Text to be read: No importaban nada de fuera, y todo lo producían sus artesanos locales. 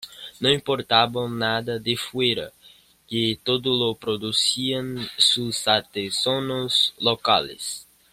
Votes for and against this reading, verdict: 0, 2, rejected